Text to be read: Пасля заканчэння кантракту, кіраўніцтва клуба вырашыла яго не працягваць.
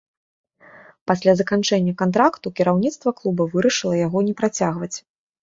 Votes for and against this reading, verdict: 2, 0, accepted